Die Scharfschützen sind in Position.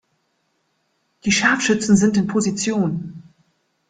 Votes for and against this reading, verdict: 2, 0, accepted